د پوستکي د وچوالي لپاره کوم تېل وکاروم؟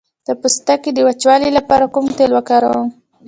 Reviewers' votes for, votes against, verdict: 2, 0, accepted